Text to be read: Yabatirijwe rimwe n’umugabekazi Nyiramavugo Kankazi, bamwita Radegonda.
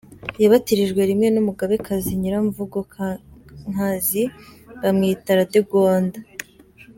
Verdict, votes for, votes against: rejected, 0, 3